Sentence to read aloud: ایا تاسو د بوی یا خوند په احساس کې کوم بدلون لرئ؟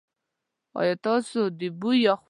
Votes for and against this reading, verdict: 1, 2, rejected